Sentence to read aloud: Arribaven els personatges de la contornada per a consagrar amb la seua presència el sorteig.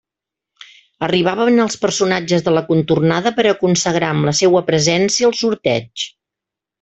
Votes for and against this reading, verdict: 2, 0, accepted